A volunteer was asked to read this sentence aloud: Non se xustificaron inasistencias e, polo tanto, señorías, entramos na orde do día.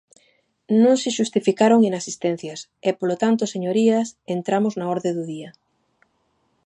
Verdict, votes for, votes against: accepted, 2, 0